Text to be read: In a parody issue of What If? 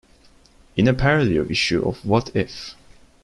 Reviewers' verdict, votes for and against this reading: rejected, 1, 2